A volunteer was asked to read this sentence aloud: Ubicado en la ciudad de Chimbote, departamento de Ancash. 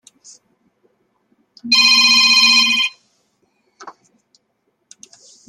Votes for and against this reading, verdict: 0, 2, rejected